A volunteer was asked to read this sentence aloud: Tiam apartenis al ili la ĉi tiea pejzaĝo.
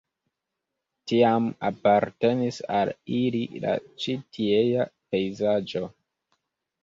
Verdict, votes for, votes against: accepted, 2, 0